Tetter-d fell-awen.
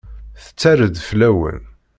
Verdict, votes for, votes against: rejected, 1, 2